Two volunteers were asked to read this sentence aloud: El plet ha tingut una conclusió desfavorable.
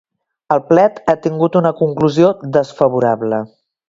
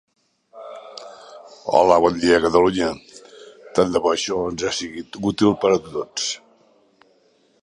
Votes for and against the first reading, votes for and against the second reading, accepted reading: 2, 0, 0, 2, first